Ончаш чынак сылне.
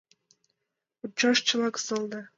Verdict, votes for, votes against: accepted, 2, 1